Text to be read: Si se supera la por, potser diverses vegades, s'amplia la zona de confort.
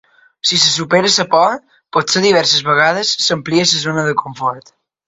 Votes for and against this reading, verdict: 1, 2, rejected